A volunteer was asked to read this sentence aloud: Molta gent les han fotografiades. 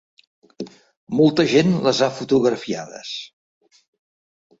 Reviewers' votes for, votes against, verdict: 2, 1, accepted